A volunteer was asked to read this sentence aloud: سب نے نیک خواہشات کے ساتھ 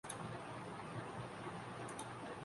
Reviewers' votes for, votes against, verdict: 0, 2, rejected